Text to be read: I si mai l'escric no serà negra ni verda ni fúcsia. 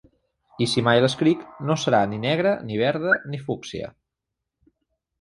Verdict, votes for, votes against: rejected, 0, 2